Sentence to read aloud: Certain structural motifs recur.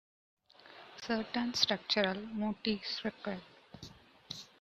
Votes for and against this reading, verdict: 2, 0, accepted